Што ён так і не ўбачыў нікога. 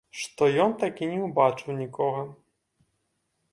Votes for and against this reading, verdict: 2, 0, accepted